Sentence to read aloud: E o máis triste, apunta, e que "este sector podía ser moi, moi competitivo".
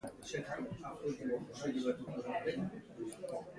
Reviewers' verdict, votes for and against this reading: rejected, 0, 2